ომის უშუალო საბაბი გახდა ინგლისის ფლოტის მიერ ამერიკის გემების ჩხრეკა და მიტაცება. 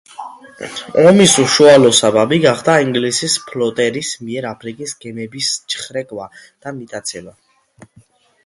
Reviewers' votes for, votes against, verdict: 0, 2, rejected